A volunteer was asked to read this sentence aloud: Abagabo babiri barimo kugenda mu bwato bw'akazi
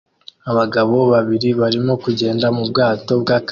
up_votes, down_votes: 1, 2